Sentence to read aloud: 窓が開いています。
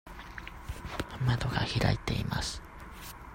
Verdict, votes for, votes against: accepted, 2, 0